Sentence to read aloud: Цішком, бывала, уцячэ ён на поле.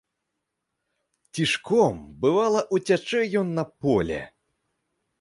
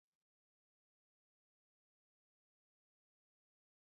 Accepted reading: first